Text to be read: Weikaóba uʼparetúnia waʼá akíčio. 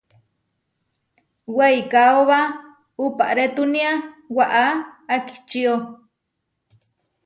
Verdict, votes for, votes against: accepted, 2, 0